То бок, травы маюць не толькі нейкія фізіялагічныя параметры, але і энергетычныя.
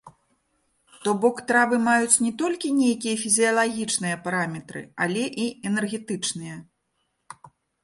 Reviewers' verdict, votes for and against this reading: accepted, 4, 0